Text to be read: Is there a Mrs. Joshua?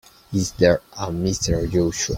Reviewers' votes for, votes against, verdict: 2, 4, rejected